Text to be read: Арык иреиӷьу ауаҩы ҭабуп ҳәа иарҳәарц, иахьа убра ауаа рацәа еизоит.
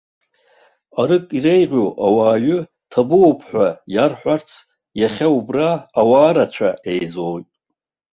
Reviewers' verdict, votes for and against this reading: rejected, 0, 2